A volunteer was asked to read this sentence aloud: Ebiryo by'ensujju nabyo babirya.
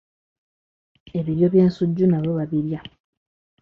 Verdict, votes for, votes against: accepted, 2, 0